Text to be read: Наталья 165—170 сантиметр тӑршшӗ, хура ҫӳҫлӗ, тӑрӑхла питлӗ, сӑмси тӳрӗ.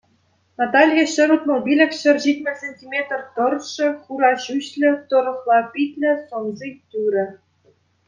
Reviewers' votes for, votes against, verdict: 0, 2, rejected